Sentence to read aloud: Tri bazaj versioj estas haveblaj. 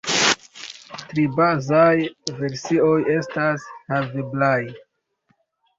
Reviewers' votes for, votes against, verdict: 1, 2, rejected